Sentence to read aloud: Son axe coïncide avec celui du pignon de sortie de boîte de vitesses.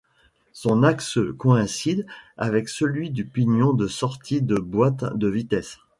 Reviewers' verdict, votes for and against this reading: accepted, 2, 0